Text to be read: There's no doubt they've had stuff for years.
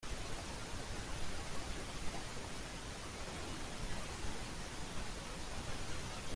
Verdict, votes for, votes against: rejected, 0, 2